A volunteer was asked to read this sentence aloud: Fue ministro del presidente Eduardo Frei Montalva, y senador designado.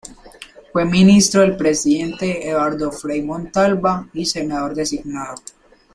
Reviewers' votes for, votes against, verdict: 2, 0, accepted